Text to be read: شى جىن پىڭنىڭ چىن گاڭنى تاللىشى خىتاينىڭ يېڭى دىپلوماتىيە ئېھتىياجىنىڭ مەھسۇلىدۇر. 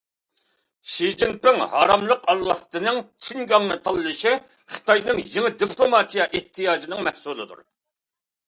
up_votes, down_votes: 0, 2